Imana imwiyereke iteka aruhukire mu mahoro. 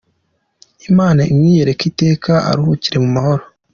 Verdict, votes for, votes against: accepted, 2, 0